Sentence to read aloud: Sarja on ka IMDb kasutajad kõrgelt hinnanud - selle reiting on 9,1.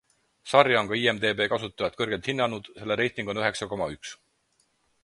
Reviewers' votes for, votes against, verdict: 0, 2, rejected